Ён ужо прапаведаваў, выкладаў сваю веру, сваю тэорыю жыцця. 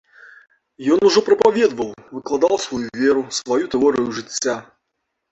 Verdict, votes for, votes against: rejected, 0, 2